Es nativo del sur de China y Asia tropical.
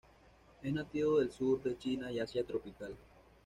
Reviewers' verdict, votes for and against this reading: accepted, 2, 0